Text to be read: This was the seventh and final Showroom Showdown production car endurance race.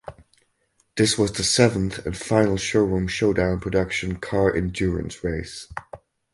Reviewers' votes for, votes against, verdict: 4, 0, accepted